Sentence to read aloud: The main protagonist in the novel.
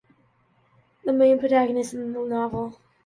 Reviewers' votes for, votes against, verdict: 2, 0, accepted